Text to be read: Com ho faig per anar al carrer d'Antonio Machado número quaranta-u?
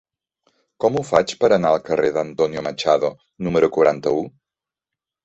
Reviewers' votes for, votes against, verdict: 2, 0, accepted